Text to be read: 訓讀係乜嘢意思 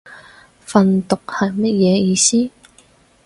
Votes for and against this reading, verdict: 4, 0, accepted